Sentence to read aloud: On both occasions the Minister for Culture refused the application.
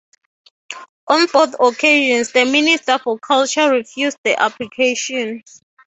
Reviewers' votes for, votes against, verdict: 3, 0, accepted